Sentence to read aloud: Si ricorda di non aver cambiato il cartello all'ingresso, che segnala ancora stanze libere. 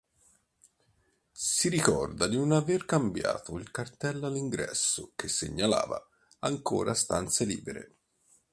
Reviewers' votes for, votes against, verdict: 1, 2, rejected